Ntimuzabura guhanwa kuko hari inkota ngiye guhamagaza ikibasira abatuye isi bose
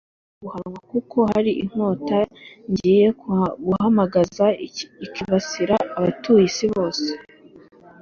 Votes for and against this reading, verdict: 1, 2, rejected